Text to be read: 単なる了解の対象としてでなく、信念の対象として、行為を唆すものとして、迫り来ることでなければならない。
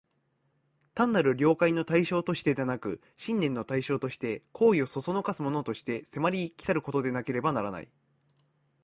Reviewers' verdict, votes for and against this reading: rejected, 1, 2